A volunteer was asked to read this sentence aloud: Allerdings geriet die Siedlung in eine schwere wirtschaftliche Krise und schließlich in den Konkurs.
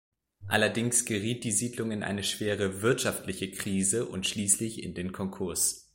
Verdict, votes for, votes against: accepted, 2, 0